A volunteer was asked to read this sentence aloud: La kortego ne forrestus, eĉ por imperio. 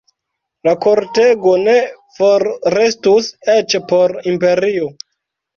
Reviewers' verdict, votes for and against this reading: rejected, 0, 2